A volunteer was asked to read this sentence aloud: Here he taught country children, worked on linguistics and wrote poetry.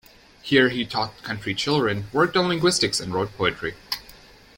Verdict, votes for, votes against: accepted, 2, 0